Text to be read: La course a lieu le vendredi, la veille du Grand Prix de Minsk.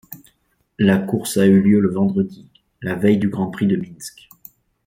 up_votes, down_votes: 0, 2